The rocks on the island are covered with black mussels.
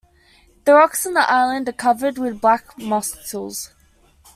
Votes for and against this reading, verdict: 1, 2, rejected